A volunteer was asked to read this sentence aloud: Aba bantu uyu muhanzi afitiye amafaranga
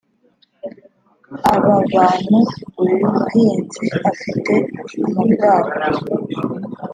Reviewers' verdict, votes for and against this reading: rejected, 1, 3